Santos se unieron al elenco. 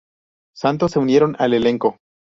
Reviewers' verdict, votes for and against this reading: accepted, 2, 0